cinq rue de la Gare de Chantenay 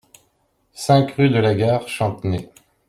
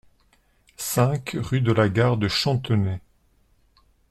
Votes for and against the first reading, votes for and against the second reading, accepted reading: 0, 2, 2, 0, second